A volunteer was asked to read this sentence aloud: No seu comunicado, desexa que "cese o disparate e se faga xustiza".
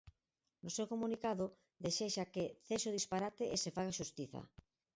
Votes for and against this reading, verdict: 2, 4, rejected